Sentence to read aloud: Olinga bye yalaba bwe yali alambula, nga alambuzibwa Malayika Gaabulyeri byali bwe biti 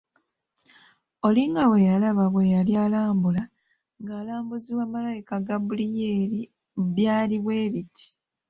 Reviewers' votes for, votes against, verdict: 0, 2, rejected